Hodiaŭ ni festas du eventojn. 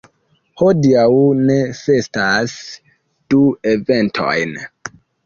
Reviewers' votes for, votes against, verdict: 2, 1, accepted